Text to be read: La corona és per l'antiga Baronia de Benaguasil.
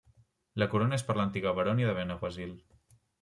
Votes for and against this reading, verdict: 1, 2, rejected